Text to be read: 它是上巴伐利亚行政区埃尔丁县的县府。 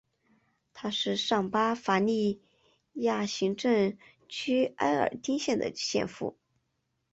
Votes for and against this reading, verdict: 1, 2, rejected